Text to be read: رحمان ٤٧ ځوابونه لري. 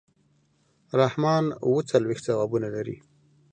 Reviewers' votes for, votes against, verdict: 0, 2, rejected